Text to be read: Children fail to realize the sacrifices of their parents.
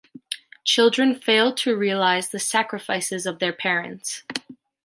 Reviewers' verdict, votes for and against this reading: accepted, 2, 0